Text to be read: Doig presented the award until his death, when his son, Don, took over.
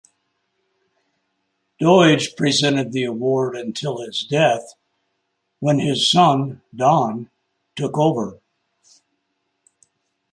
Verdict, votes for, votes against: accepted, 2, 0